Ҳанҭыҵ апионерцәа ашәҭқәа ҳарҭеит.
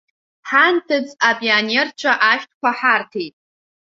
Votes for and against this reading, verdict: 2, 0, accepted